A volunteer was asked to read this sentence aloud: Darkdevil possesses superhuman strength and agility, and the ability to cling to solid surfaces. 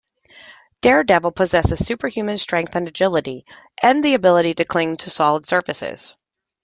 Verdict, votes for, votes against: rejected, 1, 2